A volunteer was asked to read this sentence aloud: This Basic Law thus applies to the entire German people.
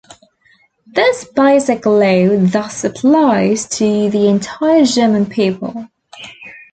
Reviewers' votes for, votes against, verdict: 1, 2, rejected